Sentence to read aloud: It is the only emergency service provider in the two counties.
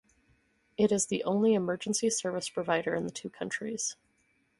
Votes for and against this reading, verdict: 2, 2, rejected